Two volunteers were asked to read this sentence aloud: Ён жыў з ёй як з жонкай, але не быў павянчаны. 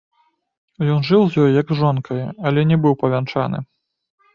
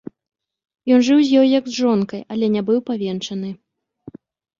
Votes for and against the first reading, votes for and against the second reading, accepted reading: 2, 0, 1, 2, first